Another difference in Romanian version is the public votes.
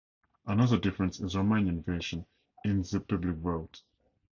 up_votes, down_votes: 2, 0